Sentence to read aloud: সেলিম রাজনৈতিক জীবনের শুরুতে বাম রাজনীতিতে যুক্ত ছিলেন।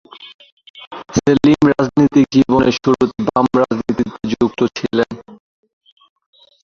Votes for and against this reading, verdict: 0, 2, rejected